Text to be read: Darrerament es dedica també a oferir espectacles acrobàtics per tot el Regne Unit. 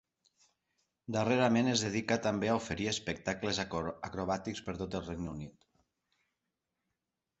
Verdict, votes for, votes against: rejected, 2, 4